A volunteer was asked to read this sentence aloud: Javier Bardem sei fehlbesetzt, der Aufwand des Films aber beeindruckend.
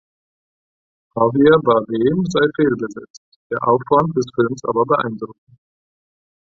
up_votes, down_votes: 4, 0